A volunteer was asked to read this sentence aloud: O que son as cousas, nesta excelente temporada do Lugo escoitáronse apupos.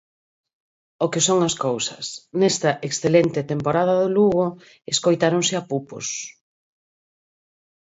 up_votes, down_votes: 4, 0